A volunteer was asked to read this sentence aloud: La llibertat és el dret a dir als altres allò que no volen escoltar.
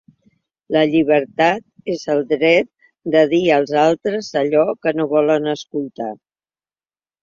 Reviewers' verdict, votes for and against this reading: rejected, 0, 2